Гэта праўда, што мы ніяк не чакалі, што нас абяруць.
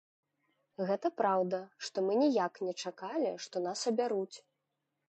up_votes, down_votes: 1, 2